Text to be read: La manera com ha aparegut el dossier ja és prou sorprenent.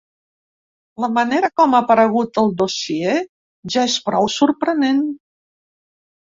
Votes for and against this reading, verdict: 2, 0, accepted